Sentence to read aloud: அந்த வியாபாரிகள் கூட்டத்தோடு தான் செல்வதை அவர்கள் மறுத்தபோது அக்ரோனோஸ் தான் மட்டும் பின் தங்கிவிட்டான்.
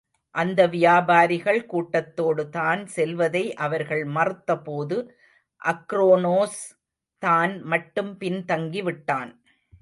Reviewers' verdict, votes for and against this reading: rejected, 0, 2